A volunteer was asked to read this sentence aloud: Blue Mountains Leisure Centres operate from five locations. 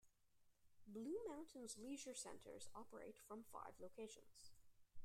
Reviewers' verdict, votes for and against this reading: accepted, 2, 1